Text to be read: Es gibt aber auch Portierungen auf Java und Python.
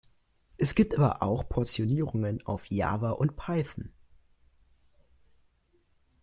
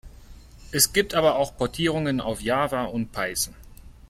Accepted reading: second